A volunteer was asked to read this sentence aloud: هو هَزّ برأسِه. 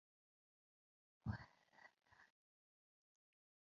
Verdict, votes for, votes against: rejected, 0, 2